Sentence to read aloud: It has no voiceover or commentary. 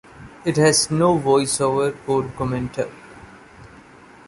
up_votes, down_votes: 1, 2